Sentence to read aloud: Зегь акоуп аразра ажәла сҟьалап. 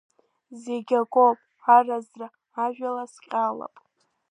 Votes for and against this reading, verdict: 2, 1, accepted